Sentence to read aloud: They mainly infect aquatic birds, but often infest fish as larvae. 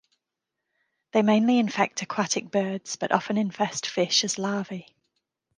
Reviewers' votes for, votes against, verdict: 2, 0, accepted